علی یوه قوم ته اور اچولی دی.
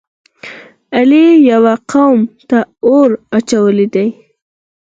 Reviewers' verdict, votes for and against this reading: accepted, 4, 0